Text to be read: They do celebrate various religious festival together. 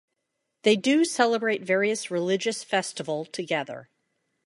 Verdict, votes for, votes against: accepted, 2, 0